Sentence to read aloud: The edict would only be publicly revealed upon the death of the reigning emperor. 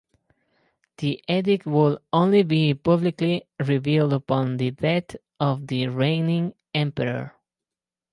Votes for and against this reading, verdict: 2, 2, rejected